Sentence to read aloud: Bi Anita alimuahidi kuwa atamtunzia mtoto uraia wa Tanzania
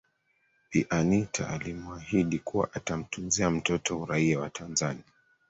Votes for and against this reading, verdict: 3, 1, accepted